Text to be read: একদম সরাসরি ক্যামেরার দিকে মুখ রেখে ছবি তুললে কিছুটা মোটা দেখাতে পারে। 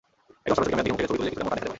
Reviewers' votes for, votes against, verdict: 0, 2, rejected